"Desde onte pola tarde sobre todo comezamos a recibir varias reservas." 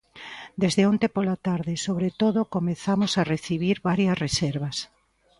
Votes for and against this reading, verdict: 2, 0, accepted